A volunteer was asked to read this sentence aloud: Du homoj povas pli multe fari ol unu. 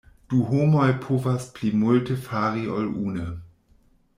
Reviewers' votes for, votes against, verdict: 1, 2, rejected